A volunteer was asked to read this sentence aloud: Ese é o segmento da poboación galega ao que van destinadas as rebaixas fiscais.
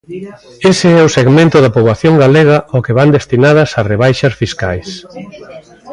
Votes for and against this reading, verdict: 3, 0, accepted